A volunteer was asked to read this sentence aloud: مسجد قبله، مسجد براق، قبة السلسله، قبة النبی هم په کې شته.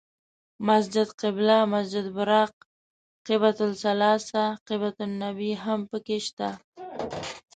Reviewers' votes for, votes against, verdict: 0, 2, rejected